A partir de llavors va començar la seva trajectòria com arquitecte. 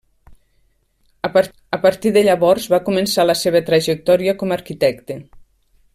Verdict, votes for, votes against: rejected, 1, 2